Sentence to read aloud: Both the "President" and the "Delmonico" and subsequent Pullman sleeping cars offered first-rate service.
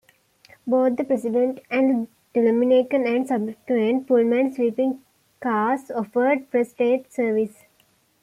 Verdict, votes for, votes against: accepted, 2, 1